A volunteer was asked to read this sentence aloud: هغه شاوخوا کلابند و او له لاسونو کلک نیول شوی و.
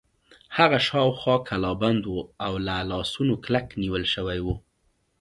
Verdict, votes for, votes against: accepted, 2, 0